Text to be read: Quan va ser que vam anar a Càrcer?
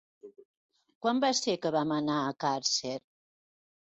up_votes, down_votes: 3, 0